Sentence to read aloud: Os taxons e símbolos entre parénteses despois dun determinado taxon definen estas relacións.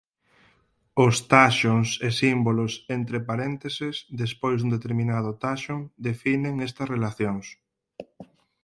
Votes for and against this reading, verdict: 2, 4, rejected